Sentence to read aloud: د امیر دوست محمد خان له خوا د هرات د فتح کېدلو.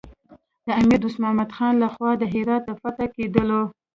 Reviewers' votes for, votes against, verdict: 1, 2, rejected